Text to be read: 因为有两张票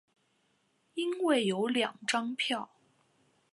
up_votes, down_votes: 5, 0